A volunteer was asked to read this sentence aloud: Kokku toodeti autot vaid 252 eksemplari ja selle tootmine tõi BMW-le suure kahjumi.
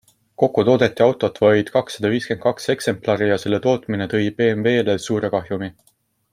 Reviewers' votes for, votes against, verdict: 0, 2, rejected